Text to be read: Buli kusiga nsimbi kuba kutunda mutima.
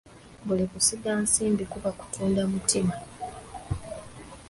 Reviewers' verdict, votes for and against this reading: accepted, 2, 1